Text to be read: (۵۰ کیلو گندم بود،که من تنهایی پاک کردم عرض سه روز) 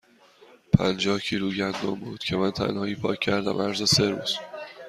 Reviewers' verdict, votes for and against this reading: rejected, 0, 2